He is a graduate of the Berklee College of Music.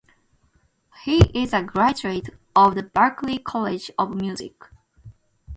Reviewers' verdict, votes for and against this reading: accepted, 2, 0